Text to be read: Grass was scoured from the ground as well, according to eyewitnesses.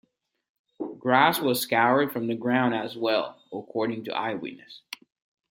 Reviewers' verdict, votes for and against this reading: accepted, 2, 0